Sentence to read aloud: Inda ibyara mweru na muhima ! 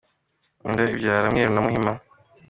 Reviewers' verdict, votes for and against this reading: accepted, 3, 0